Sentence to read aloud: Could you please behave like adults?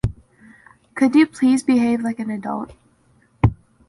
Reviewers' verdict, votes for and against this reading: rejected, 0, 2